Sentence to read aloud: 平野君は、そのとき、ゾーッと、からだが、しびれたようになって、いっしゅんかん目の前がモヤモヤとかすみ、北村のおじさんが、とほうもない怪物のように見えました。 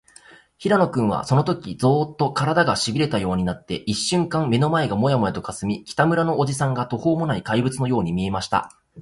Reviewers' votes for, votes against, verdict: 2, 0, accepted